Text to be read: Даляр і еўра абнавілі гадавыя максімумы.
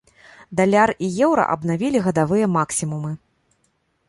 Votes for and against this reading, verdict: 2, 0, accepted